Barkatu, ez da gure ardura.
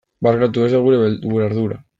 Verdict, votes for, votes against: rejected, 0, 2